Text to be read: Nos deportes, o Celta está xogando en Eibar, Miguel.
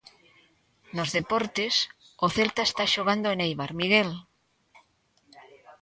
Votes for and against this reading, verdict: 2, 0, accepted